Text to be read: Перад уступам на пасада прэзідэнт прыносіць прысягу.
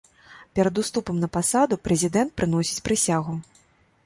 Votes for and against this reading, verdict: 1, 2, rejected